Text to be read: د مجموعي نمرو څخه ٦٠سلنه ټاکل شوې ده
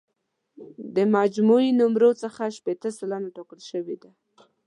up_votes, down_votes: 0, 2